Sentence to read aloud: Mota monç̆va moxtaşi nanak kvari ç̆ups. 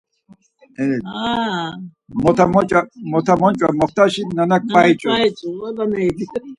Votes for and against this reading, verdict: 0, 4, rejected